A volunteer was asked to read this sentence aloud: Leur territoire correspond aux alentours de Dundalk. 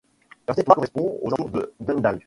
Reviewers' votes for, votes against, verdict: 1, 2, rejected